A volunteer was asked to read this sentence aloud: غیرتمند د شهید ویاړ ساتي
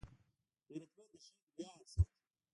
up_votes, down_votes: 0, 2